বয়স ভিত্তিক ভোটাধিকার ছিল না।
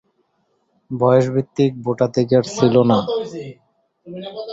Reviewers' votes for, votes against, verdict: 0, 2, rejected